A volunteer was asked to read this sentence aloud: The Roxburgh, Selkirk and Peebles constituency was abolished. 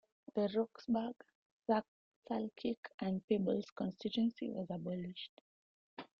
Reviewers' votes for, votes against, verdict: 2, 1, accepted